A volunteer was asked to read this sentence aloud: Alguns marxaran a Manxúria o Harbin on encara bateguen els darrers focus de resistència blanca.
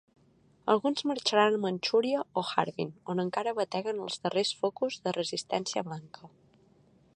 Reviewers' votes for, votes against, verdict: 3, 0, accepted